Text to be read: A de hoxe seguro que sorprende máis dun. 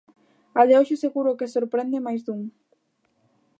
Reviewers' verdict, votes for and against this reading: accepted, 2, 0